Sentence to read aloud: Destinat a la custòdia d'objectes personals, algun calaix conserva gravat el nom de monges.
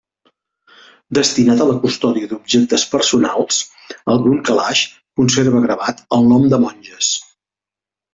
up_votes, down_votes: 2, 0